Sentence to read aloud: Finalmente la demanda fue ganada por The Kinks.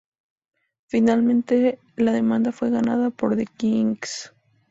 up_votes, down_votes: 4, 0